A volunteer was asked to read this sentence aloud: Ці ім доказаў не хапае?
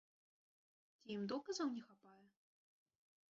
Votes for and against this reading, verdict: 0, 2, rejected